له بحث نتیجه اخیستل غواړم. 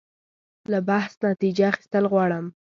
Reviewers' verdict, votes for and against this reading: accepted, 2, 0